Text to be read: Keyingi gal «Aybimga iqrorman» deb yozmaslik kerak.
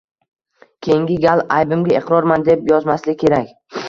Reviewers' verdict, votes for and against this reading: accepted, 2, 0